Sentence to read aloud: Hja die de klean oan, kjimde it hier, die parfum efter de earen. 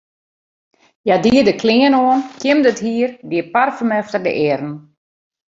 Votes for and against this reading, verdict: 2, 0, accepted